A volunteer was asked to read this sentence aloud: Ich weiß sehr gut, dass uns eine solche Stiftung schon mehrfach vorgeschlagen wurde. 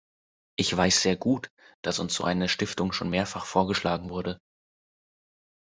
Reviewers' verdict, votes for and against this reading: rejected, 0, 2